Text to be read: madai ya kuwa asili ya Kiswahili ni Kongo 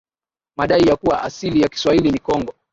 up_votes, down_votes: 2, 2